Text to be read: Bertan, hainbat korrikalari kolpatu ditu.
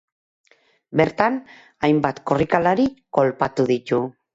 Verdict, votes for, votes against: accepted, 2, 0